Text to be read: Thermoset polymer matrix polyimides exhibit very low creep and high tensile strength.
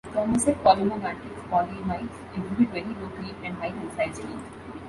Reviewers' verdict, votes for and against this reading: rejected, 1, 2